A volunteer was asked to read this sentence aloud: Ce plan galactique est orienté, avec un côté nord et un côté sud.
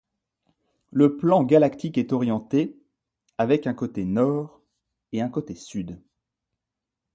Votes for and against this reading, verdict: 0, 2, rejected